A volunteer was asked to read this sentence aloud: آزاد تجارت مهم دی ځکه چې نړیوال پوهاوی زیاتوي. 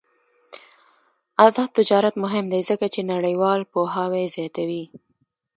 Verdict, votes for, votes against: accepted, 2, 0